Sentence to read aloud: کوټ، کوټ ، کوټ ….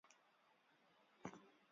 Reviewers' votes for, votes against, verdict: 1, 2, rejected